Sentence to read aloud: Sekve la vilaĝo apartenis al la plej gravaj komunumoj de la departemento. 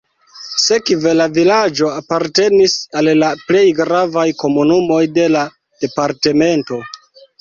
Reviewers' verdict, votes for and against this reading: rejected, 1, 2